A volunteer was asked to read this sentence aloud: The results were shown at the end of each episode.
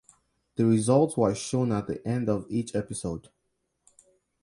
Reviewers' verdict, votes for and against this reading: rejected, 0, 2